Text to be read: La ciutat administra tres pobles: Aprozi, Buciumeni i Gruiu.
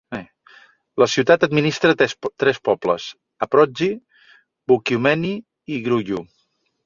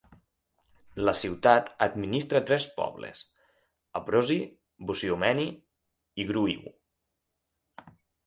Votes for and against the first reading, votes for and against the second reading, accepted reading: 0, 2, 6, 0, second